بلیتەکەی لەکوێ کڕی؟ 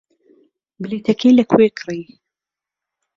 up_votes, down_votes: 1, 2